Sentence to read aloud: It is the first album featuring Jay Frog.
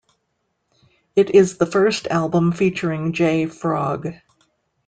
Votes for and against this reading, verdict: 2, 0, accepted